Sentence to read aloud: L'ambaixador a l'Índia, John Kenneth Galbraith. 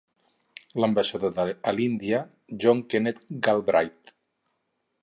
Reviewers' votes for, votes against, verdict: 2, 4, rejected